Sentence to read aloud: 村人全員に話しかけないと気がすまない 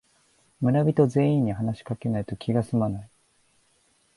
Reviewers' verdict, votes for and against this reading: accepted, 2, 1